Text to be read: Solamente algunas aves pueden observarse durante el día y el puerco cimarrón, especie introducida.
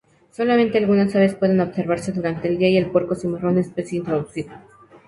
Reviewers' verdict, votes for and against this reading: rejected, 0, 2